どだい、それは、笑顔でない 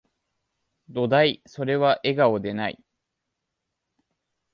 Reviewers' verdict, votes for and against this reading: accepted, 2, 0